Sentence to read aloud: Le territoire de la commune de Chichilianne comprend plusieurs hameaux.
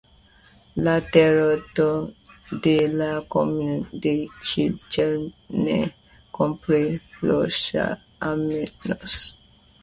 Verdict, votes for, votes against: rejected, 0, 2